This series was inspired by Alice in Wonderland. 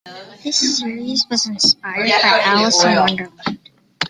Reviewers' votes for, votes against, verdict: 1, 2, rejected